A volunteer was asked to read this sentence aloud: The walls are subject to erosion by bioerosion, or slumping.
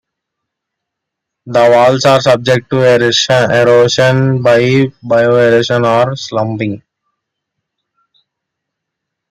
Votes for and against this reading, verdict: 0, 2, rejected